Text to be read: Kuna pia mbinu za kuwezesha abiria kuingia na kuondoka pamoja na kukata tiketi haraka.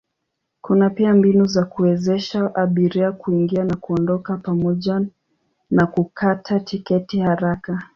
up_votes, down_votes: 2, 0